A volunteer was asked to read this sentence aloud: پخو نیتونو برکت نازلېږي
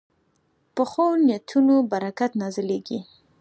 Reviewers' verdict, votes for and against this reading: accepted, 2, 1